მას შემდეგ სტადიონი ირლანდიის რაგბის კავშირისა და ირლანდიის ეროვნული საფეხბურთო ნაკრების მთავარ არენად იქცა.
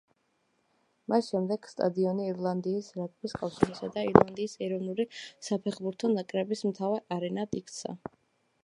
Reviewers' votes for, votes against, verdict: 2, 0, accepted